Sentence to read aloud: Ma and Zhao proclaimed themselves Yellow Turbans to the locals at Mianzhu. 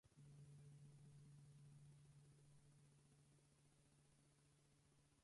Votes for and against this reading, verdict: 0, 4, rejected